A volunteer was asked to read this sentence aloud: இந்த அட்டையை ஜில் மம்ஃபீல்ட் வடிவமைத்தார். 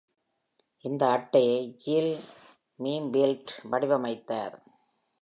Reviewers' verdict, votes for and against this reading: rejected, 1, 2